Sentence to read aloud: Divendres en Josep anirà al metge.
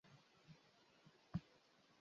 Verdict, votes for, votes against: rejected, 0, 2